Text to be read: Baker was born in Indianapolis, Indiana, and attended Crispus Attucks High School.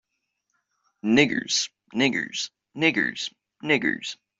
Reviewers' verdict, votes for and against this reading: rejected, 0, 2